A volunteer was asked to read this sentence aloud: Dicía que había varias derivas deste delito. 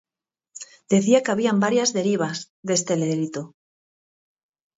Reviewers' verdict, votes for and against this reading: rejected, 0, 4